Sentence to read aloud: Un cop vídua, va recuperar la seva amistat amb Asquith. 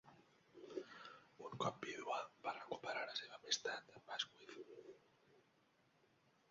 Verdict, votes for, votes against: rejected, 0, 2